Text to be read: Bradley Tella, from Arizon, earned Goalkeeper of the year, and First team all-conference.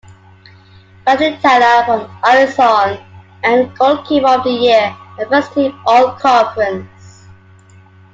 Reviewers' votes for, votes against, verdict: 2, 1, accepted